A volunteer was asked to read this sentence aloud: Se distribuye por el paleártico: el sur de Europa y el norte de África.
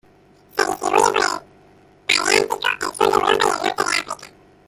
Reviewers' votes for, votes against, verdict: 0, 2, rejected